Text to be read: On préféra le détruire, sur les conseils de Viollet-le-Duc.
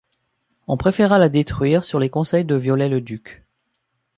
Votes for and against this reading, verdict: 0, 2, rejected